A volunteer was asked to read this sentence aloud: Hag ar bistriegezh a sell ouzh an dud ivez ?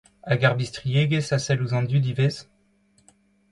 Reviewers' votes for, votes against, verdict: 2, 0, accepted